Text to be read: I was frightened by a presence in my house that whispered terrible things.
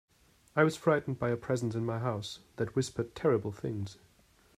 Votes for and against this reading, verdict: 2, 0, accepted